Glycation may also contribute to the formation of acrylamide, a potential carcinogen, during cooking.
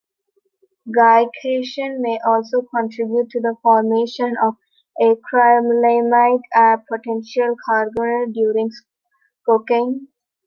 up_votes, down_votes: 0, 2